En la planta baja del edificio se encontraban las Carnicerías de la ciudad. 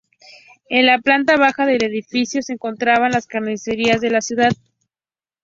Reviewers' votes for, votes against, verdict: 2, 2, rejected